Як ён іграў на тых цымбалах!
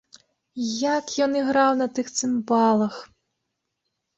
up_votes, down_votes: 2, 0